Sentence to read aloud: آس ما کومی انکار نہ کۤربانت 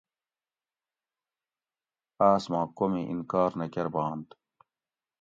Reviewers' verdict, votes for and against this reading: accepted, 2, 0